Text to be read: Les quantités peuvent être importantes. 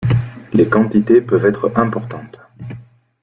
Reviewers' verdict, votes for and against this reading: accepted, 2, 0